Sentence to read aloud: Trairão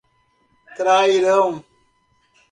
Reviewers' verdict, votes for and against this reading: accepted, 2, 0